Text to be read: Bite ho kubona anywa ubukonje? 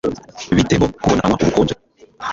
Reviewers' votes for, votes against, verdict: 0, 2, rejected